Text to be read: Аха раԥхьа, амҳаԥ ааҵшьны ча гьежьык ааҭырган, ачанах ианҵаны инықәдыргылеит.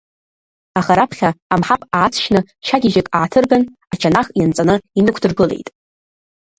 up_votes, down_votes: 1, 2